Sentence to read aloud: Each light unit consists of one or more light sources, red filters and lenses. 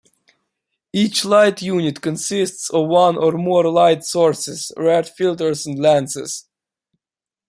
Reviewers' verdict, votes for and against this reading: accepted, 2, 0